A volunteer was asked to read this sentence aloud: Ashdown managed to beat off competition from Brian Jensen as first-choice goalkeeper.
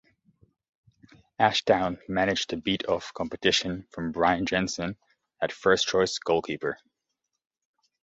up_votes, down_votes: 1, 2